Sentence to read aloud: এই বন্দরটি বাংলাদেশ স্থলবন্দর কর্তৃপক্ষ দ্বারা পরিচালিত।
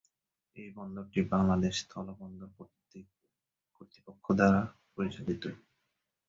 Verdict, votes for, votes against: rejected, 0, 2